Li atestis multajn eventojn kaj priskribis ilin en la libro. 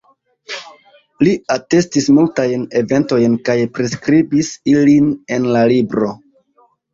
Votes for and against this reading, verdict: 2, 1, accepted